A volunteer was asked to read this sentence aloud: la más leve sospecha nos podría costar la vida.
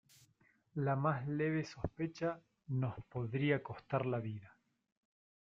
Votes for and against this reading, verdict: 0, 2, rejected